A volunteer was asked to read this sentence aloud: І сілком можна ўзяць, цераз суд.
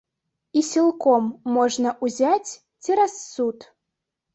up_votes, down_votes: 1, 2